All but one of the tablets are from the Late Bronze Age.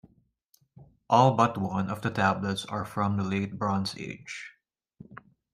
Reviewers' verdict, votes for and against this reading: accepted, 2, 0